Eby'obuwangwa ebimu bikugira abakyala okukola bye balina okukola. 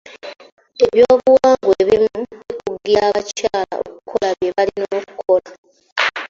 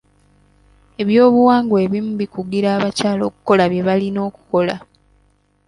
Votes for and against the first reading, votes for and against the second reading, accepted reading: 1, 2, 2, 0, second